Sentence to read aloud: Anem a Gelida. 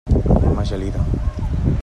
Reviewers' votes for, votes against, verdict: 0, 2, rejected